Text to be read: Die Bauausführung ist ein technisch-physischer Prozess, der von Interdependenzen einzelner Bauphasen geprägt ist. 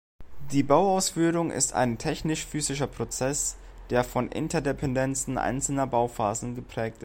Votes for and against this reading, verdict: 1, 2, rejected